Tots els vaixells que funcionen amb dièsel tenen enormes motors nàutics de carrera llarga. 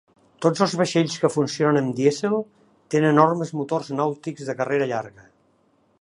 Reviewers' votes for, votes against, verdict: 0, 2, rejected